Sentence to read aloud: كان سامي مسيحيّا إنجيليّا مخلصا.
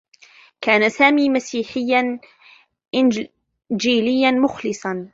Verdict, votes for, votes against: rejected, 0, 2